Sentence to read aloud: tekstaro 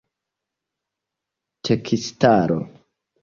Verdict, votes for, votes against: rejected, 0, 2